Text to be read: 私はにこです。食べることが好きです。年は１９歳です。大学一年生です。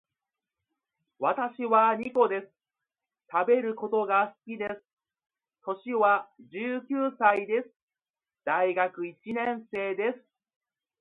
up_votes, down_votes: 0, 2